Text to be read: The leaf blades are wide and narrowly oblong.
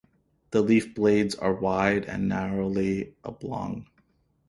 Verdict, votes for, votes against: accepted, 2, 0